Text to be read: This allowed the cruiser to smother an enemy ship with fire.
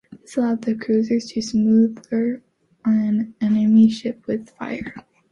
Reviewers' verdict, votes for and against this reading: accepted, 2, 1